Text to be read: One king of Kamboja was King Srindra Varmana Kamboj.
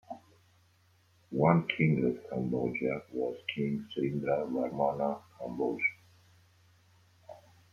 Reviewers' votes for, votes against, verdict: 2, 0, accepted